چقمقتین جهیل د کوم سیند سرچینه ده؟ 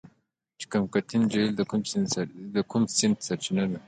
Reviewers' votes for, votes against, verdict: 2, 0, accepted